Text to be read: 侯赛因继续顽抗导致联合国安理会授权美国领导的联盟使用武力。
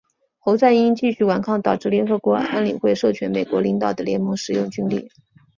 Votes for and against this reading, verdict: 5, 1, accepted